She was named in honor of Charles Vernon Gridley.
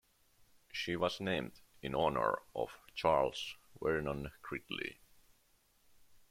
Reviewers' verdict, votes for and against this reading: accepted, 2, 0